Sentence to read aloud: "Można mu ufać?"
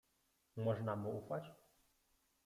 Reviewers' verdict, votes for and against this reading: accepted, 2, 1